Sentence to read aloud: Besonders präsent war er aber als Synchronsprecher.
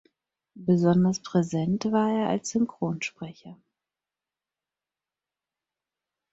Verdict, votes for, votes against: rejected, 0, 4